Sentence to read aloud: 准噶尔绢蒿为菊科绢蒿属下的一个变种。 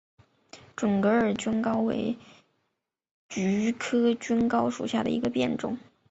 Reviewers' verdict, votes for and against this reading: rejected, 0, 2